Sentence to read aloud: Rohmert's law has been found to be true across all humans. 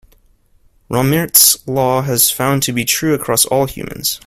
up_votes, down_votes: 2, 1